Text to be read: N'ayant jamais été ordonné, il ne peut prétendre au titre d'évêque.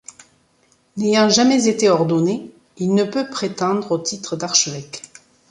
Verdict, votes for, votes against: rejected, 0, 2